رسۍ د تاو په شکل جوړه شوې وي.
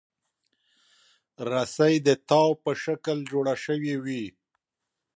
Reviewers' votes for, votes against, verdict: 2, 0, accepted